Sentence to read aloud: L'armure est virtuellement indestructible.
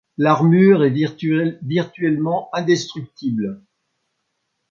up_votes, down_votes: 1, 2